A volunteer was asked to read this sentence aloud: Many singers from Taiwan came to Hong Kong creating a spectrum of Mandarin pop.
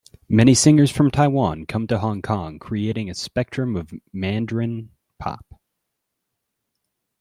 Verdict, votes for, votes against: accepted, 2, 0